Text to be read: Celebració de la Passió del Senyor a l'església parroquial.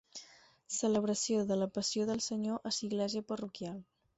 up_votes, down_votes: 0, 4